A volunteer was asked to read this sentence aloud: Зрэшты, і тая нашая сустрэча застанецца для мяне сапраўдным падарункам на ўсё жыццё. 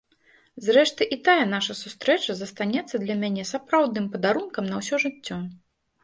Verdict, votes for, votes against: rejected, 0, 2